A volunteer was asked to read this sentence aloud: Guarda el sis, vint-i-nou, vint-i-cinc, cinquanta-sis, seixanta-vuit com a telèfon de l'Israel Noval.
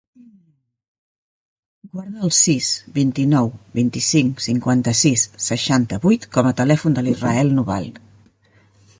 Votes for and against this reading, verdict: 1, 2, rejected